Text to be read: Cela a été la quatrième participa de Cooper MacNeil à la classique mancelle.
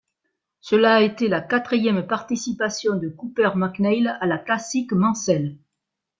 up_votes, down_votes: 1, 2